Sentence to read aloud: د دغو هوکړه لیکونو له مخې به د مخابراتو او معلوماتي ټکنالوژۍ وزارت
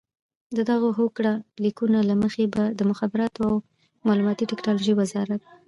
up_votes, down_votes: 2, 1